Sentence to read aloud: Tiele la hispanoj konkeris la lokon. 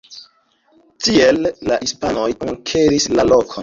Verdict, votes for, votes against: accepted, 2, 0